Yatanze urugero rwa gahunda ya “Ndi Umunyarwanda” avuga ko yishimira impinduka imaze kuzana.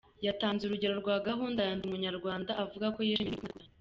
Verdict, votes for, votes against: rejected, 0, 2